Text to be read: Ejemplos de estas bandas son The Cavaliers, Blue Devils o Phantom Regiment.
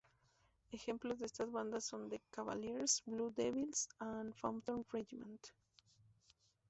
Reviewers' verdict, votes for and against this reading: rejected, 0, 2